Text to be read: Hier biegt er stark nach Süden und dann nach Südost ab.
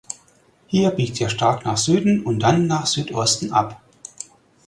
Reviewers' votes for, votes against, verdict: 0, 4, rejected